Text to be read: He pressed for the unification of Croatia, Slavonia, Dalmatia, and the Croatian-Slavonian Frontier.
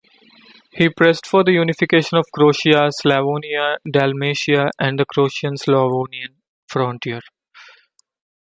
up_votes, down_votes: 2, 0